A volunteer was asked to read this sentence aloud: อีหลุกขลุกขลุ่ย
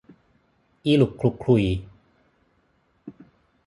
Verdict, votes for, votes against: accepted, 6, 3